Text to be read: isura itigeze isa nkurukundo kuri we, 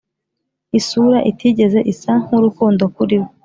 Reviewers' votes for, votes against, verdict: 2, 0, accepted